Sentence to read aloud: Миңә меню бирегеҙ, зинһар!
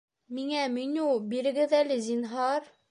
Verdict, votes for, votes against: rejected, 0, 2